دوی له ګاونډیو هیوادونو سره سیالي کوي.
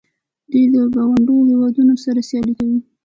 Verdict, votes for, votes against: rejected, 1, 2